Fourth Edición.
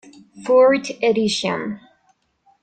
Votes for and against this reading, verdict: 1, 2, rejected